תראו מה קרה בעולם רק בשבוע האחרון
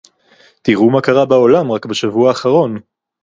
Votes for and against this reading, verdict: 2, 0, accepted